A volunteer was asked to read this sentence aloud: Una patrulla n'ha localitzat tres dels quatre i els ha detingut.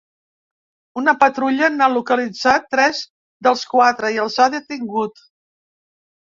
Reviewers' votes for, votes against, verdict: 3, 0, accepted